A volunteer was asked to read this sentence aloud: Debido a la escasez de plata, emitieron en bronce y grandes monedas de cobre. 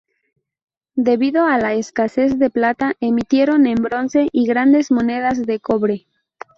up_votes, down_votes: 2, 2